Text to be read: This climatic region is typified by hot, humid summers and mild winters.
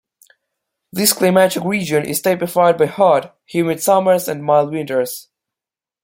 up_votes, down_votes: 2, 1